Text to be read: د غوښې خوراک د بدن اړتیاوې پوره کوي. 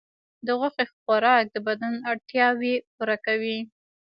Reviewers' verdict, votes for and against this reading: accepted, 2, 1